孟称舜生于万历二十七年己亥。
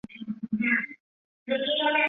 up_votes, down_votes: 1, 3